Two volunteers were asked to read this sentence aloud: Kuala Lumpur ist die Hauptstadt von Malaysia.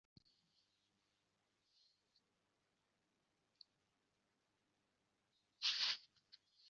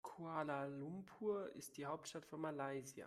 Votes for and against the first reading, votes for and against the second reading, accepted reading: 0, 2, 2, 0, second